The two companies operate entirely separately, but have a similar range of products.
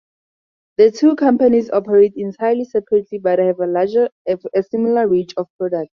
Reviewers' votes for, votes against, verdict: 0, 2, rejected